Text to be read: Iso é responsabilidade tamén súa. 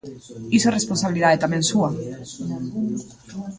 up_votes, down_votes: 1, 2